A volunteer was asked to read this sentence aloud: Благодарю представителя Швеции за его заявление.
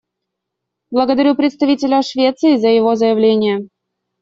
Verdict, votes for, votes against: accepted, 2, 0